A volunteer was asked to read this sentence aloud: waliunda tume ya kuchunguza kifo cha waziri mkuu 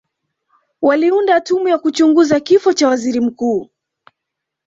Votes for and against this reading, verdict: 2, 0, accepted